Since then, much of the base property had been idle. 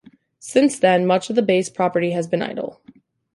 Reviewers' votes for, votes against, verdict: 1, 2, rejected